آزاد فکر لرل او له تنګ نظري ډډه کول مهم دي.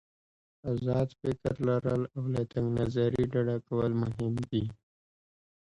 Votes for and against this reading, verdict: 2, 1, accepted